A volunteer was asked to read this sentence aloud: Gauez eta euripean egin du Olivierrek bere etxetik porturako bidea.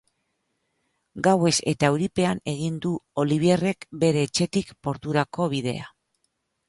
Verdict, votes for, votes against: rejected, 0, 2